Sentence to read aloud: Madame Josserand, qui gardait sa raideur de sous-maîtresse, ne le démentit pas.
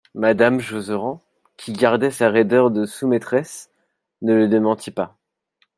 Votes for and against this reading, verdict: 0, 2, rejected